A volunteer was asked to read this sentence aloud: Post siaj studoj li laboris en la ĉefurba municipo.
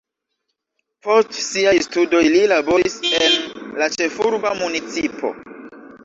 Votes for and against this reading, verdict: 0, 2, rejected